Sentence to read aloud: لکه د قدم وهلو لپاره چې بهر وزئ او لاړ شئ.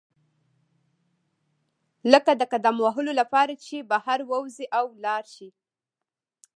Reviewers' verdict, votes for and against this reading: accepted, 2, 0